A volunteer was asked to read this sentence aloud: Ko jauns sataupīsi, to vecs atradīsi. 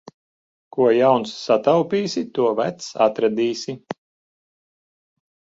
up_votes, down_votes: 2, 0